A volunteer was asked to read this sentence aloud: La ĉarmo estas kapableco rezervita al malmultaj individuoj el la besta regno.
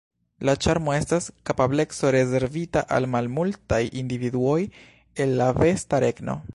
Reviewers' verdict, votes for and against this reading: rejected, 1, 2